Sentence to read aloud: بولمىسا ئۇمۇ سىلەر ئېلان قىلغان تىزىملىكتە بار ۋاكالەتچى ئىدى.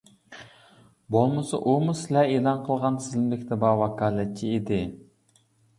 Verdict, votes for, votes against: rejected, 1, 2